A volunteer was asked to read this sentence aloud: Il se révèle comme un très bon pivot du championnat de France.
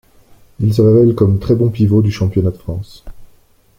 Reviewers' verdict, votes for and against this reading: rejected, 1, 2